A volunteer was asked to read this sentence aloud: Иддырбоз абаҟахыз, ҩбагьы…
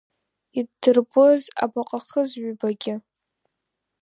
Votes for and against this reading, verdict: 2, 0, accepted